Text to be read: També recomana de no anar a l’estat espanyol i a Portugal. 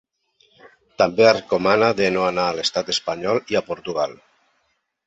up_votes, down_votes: 3, 0